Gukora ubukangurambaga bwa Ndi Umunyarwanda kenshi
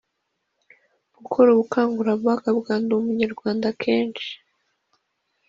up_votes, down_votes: 2, 0